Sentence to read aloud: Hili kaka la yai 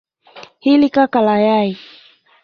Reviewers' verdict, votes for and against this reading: rejected, 1, 2